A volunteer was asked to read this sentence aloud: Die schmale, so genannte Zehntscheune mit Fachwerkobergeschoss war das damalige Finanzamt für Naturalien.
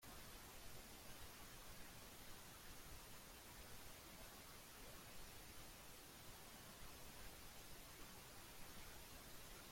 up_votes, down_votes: 0, 2